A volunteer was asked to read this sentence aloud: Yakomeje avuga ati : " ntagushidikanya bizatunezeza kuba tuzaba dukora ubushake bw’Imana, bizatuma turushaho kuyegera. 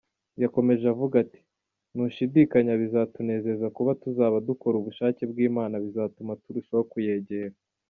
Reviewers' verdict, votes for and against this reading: rejected, 1, 2